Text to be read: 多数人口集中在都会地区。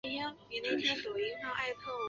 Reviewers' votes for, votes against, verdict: 0, 3, rejected